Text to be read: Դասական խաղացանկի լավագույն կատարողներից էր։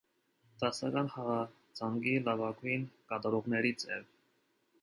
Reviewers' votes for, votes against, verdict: 2, 0, accepted